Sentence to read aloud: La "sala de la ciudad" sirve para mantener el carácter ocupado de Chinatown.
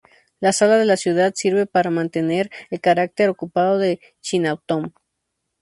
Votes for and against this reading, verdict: 2, 2, rejected